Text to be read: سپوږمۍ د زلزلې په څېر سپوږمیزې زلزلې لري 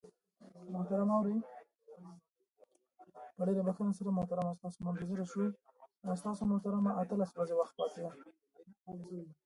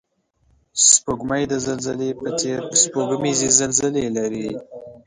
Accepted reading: second